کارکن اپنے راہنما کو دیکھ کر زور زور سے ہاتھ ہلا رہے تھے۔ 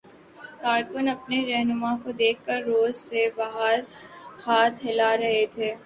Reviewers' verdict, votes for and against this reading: rejected, 0, 2